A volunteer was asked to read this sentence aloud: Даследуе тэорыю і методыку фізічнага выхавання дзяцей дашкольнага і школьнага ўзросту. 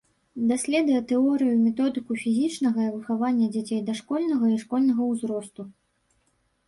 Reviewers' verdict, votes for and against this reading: accepted, 2, 0